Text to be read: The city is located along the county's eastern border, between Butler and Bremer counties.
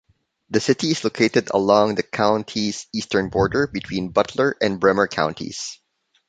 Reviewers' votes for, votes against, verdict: 2, 0, accepted